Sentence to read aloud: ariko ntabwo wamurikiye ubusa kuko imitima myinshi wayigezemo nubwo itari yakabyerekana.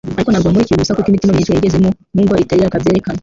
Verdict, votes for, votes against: rejected, 0, 2